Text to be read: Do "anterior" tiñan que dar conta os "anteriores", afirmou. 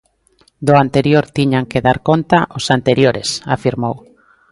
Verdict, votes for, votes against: accepted, 2, 0